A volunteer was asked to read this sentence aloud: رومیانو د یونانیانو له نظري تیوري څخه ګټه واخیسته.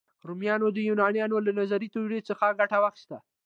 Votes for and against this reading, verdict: 2, 0, accepted